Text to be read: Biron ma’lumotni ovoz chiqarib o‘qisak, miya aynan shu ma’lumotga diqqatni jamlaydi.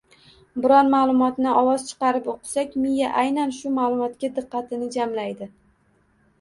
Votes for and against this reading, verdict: 2, 0, accepted